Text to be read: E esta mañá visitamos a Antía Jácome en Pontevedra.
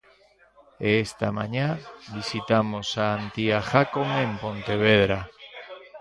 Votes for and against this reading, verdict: 1, 2, rejected